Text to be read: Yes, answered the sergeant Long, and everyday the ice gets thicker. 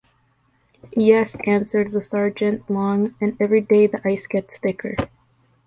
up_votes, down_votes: 0, 2